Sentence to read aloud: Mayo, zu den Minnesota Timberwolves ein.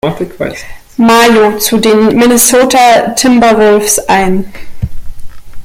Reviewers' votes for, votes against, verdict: 1, 2, rejected